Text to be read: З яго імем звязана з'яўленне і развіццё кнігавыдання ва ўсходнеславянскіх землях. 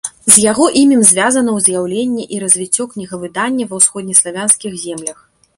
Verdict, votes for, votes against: rejected, 0, 2